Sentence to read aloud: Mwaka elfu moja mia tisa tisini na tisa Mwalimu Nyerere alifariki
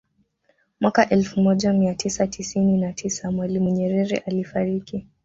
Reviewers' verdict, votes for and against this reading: rejected, 1, 2